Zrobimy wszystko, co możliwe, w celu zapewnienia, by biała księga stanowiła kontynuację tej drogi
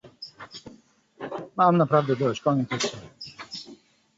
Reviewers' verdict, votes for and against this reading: rejected, 0, 2